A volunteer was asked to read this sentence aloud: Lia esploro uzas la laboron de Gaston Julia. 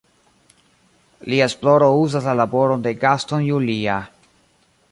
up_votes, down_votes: 2, 0